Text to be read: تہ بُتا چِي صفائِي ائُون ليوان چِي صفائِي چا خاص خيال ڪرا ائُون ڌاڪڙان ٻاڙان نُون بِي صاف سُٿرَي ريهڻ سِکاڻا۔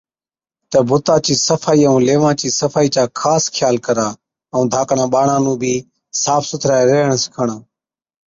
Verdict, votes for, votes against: accepted, 3, 0